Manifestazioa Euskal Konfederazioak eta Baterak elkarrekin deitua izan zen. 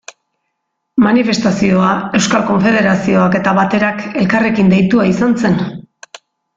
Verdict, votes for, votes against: accepted, 2, 0